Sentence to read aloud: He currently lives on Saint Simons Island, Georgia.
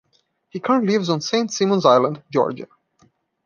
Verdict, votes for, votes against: rejected, 1, 2